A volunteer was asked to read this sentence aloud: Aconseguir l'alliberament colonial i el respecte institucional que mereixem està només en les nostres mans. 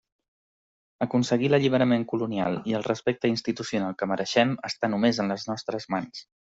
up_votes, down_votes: 3, 0